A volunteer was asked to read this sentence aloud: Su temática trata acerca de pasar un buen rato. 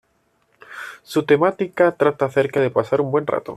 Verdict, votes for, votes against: accepted, 2, 0